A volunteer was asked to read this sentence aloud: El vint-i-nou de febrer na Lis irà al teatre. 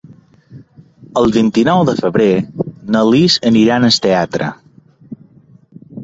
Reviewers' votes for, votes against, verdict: 2, 0, accepted